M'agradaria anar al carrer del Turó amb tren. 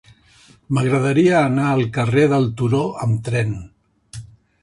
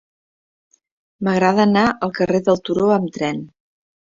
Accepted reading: first